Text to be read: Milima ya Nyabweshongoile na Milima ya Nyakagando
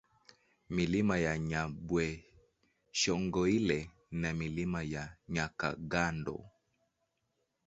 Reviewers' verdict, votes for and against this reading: rejected, 1, 2